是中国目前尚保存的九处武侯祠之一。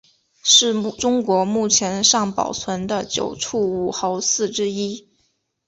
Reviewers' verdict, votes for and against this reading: accepted, 4, 1